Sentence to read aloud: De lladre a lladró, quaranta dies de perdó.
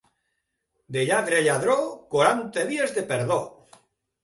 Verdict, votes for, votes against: accepted, 2, 0